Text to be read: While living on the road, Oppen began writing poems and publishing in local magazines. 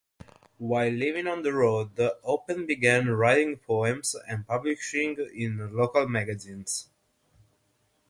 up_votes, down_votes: 0, 6